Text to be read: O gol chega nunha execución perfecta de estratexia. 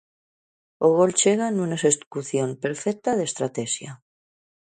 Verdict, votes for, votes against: rejected, 0, 2